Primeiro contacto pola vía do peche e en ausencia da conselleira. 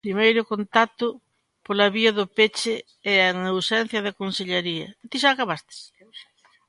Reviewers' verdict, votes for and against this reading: rejected, 0, 2